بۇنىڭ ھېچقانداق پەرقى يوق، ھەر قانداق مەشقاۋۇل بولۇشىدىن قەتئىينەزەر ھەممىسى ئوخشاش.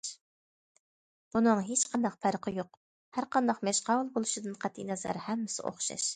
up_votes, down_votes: 2, 0